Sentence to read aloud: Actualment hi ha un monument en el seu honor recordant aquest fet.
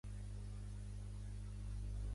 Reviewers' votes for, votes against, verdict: 0, 2, rejected